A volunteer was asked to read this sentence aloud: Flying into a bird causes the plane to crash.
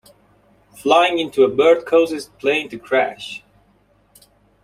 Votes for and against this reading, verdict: 2, 0, accepted